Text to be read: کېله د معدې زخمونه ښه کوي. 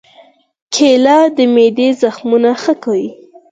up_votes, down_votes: 2, 4